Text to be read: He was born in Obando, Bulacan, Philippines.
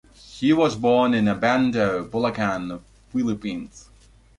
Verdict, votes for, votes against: accepted, 2, 0